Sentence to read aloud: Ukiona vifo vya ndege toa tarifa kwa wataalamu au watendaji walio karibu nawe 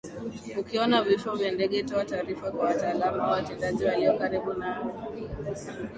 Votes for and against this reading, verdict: 0, 2, rejected